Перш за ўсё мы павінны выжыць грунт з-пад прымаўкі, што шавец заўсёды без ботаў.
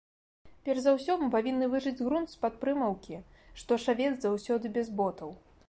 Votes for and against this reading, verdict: 2, 0, accepted